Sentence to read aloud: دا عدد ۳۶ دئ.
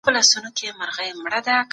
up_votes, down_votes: 0, 2